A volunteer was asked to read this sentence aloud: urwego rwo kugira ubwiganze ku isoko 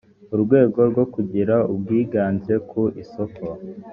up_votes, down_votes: 2, 0